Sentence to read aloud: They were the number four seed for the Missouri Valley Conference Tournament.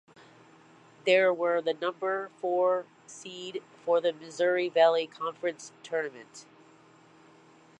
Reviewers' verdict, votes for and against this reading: accepted, 2, 0